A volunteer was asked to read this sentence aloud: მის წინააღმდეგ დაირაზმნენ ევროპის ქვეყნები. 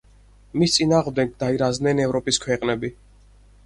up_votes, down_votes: 2, 4